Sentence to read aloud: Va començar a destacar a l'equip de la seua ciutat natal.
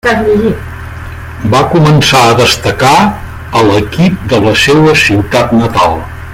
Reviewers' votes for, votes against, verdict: 1, 2, rejected